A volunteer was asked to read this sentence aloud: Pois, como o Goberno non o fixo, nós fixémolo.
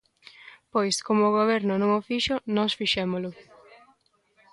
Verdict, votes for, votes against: rejected, 1, 2